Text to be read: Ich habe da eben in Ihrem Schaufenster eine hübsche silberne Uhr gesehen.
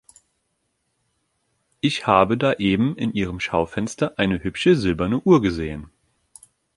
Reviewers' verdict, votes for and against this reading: accepted, 2, 0